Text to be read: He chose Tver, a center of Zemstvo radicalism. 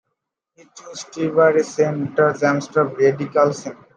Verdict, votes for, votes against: rejected, 0, 2